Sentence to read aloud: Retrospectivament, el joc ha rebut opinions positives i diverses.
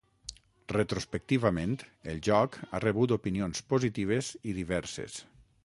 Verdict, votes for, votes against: accepted, 6, 0